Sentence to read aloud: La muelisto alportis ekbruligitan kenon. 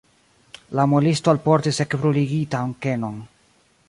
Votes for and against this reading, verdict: 1, 2, rejected